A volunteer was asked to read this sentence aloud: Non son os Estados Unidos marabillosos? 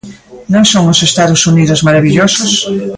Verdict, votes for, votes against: rejected, 0, 2